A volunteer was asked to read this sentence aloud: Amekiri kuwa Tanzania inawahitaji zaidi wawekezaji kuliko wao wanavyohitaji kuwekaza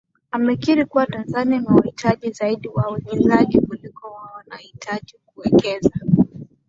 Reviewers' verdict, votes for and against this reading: accepted, 2, 0